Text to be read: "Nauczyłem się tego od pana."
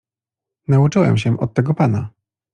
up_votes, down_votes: 1, 2